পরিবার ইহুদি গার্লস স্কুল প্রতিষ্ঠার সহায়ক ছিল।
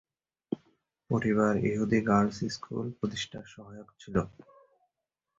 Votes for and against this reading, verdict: 1, 3, rejected